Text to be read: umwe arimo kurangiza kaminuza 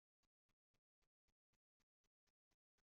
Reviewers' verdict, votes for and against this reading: rejected, 0, 4